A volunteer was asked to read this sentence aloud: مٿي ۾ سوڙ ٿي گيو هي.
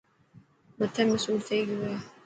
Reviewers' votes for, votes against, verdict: 2, 0, accepted